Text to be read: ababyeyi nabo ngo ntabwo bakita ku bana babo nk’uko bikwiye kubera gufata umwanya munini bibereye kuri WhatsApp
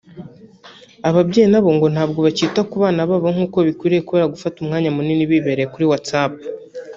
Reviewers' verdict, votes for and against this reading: rejected, 0, 2